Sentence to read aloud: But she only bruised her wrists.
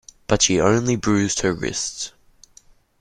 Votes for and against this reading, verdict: 2, 0, accepted